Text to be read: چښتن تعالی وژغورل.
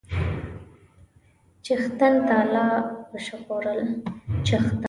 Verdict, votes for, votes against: rejected, 1, 2